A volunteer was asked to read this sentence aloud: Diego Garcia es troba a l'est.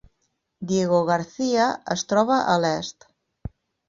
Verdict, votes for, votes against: accepted, 6, 2